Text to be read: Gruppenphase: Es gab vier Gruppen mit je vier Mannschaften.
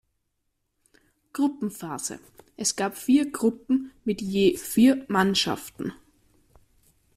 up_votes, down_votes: 2, 0